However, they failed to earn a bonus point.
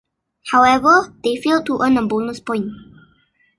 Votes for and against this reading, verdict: 2, 0, accepted